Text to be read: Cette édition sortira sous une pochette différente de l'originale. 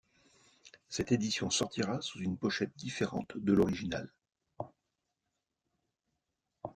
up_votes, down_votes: 2, 0